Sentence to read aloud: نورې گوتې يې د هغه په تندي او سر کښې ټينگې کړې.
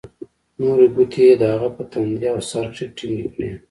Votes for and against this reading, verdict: 2, 0, accepted